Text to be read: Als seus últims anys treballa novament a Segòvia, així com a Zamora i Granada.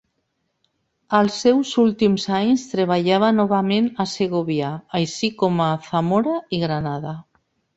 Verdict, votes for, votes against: rejected, 0, 2